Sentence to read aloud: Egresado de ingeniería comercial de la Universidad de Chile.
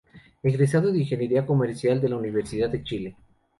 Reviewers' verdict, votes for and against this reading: rejected, 0, 2